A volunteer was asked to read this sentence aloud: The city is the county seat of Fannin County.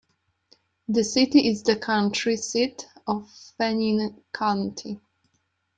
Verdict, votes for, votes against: rejected, 0, 2